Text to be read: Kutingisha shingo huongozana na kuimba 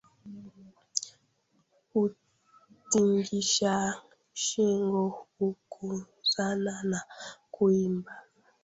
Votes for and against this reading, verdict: 1, 2, rejected